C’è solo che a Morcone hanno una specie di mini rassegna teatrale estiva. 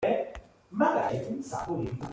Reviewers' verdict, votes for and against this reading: rejected, 0, 2